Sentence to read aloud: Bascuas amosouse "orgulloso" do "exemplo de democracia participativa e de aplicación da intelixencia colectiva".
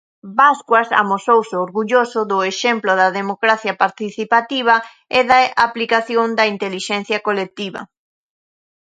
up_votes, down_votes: 2, 1